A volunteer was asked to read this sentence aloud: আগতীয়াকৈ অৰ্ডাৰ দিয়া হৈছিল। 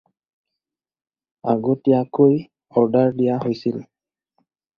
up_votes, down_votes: 4, 0